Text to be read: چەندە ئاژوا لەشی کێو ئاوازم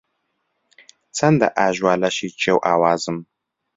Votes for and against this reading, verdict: 2, 0, accepted